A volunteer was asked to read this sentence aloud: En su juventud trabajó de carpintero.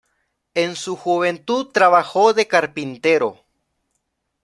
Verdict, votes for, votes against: accepted, 2, 0